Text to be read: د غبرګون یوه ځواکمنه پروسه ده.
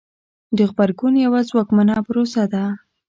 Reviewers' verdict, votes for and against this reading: accepted, 2, 0